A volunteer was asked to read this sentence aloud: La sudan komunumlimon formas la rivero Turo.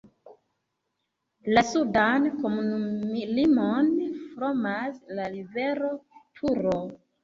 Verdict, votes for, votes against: rejected, 0, 2